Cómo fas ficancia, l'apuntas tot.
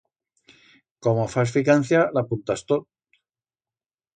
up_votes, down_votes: 1, 2